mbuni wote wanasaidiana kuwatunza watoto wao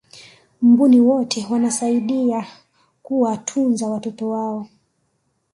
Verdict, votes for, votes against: rejected, 1, 2